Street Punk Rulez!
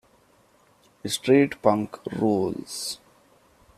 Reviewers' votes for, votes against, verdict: 0, 2, rejected